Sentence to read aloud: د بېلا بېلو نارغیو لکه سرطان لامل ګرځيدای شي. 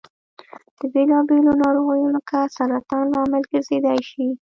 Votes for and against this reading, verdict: 1, 2, rejected